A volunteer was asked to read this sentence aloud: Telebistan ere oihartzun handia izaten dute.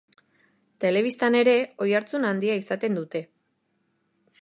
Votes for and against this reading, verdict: 3, 0, accepted